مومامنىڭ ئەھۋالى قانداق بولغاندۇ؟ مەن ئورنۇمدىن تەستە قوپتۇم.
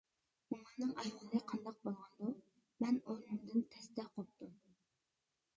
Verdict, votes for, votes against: rejected, 0, 2